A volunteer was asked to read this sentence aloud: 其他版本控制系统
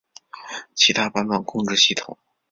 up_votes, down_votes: 2, 0